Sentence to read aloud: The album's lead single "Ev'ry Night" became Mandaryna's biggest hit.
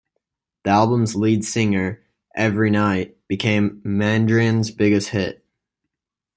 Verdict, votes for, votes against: rejected, 0, 2